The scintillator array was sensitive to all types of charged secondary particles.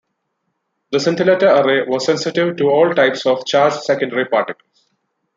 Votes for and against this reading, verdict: 1, 2, rejected